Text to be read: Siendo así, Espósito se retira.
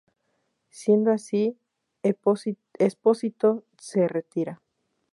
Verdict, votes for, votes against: rejected, 0, 4